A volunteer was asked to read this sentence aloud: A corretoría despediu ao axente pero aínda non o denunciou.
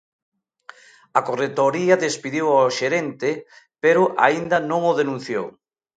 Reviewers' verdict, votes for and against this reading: rejected, 0, 2